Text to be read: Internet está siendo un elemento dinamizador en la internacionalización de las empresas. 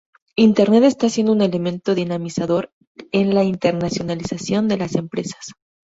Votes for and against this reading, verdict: 2, 0, accepted